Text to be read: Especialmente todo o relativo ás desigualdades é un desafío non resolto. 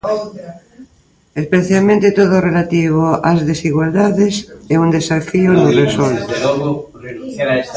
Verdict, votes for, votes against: rejected, 0, 2